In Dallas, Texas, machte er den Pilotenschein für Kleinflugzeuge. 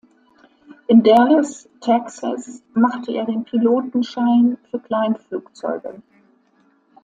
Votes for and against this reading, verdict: 2, 0, accepted